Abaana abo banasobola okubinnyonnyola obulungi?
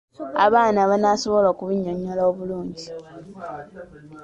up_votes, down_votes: 2, 3